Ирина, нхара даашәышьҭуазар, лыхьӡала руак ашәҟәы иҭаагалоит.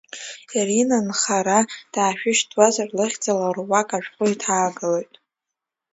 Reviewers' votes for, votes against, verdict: 2, 0, accepted